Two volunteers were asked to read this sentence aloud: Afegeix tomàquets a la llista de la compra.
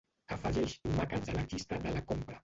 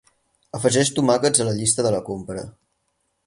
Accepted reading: second